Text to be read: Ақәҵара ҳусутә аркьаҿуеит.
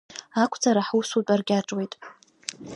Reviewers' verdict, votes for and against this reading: accepted, 2, 0